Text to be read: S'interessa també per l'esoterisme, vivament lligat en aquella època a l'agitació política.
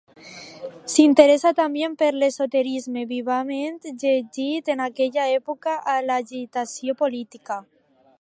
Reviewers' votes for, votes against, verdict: 0, 2, rejected